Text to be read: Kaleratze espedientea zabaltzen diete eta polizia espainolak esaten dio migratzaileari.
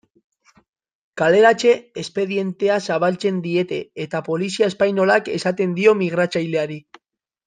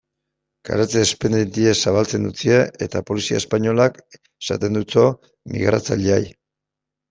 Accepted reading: first